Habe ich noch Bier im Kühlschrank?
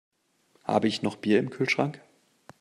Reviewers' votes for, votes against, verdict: 2, 0, accepted